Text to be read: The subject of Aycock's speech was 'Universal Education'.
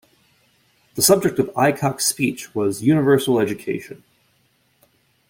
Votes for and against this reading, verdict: 2, 0, accepted